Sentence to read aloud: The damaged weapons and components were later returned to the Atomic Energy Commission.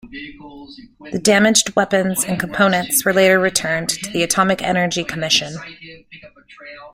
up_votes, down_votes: 0, 2